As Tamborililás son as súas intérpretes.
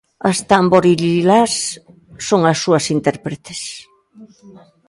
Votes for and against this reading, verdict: 1, 2, rejected